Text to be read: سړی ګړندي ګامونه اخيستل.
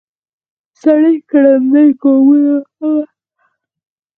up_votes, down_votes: 2, 4